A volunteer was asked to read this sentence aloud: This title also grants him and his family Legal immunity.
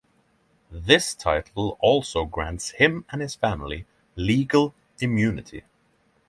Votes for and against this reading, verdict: 9, 0, accepted